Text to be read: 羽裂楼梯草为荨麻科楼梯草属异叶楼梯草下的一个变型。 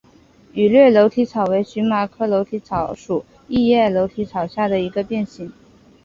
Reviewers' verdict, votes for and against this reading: accepted, 4, 1